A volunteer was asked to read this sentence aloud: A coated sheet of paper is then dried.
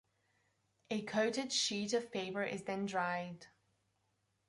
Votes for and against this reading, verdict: 2, 1, accepted